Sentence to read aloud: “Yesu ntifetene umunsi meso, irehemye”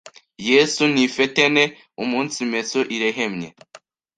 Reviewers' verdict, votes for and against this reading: rejected, 1, 2